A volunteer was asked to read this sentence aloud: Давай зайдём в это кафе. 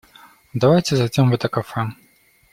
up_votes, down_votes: 0, 2